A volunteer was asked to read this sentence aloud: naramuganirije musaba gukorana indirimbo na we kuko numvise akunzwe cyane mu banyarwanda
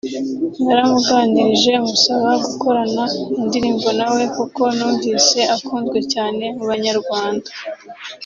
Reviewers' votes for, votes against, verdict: 2, 1, accepted